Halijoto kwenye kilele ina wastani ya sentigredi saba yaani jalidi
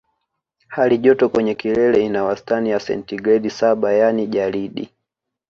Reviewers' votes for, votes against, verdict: 0, 2, rejected